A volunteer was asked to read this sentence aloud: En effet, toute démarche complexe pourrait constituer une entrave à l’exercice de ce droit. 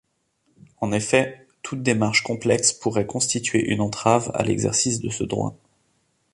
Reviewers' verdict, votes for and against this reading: accepted, 2, 0